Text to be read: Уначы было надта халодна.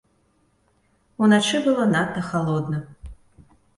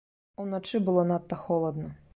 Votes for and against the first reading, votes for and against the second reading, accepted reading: 2, 0, 1, 2, first